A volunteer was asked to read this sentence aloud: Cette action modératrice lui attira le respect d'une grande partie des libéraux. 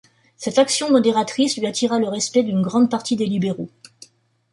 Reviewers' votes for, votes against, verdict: 2, 0, accepted